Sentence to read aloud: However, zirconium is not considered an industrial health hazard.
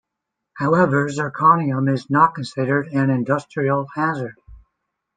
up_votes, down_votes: 0, 2